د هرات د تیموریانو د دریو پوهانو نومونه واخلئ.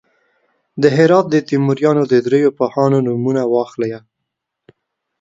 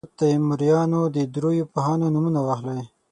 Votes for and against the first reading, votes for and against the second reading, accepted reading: 2, 0, 3, 6, first